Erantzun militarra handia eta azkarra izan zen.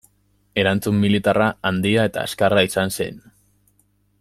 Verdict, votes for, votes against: accepted, 2, 0